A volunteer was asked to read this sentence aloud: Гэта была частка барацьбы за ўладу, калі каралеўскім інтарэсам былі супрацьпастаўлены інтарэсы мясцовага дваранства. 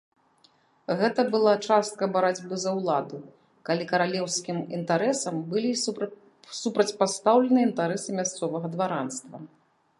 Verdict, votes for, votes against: rejected, 0, 3